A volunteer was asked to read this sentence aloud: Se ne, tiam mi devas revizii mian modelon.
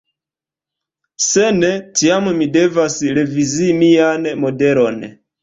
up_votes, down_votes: 2, 0